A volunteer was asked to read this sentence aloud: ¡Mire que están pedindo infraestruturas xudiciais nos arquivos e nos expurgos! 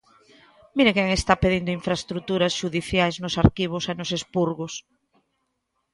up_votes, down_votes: 0, 2